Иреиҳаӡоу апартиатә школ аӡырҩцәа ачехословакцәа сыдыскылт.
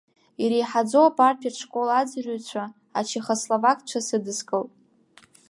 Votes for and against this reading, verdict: 2, 0, accepted